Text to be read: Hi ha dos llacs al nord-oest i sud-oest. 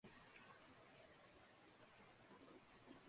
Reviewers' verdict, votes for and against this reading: rejected, 0, 2